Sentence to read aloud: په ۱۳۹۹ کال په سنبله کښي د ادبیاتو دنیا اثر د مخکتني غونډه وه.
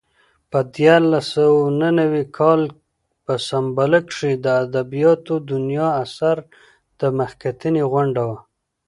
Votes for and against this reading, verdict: 0, 2, rejected